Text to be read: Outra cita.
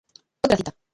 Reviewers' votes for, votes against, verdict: 0, 2, rejected